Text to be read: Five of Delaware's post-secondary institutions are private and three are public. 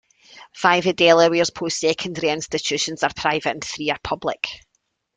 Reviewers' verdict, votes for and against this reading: accepted, 2, 0